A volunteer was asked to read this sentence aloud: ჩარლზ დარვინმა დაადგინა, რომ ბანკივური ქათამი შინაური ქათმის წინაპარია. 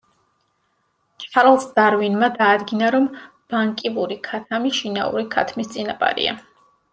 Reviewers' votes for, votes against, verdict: 2, 1, accepted